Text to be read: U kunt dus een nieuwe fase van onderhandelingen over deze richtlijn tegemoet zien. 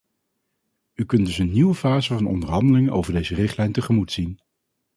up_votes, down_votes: 4, 0